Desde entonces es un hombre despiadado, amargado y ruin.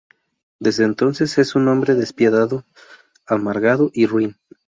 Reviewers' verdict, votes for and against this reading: accepted, 2, 0